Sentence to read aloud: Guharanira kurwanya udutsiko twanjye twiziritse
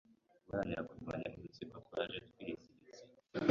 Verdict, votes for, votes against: rejected, 1, 2